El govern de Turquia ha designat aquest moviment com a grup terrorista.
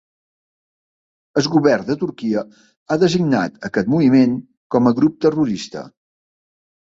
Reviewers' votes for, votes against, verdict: 3, 0, accepted